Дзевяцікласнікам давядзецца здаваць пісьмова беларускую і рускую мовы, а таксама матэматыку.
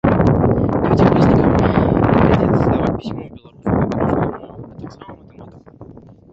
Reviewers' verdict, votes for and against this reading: rejected, 0, 2